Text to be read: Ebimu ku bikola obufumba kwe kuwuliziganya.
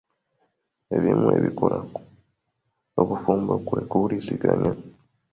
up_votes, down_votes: 1, 2